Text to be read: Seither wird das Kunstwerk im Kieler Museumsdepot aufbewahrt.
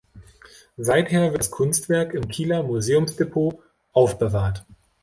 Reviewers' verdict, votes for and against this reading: accepted, 2, 0